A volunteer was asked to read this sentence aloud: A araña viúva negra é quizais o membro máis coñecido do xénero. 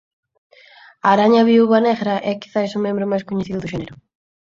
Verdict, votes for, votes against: accepted, 4, 2